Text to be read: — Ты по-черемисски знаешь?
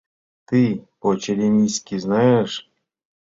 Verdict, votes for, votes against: accepted, 2, 0